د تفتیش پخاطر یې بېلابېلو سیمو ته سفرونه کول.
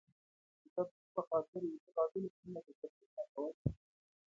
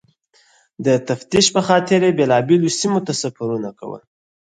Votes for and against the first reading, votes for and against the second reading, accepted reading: 0, 2, 4, 0, second